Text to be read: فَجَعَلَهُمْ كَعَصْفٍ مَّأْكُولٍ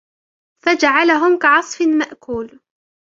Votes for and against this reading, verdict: 1, 2, rejected